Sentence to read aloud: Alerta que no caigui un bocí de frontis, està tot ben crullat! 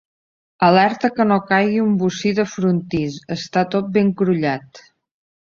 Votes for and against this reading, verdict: 0, 2, rejected